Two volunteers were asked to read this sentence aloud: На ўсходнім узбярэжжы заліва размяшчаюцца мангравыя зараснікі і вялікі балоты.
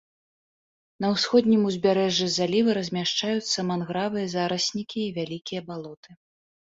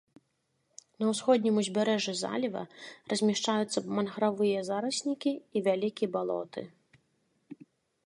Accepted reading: first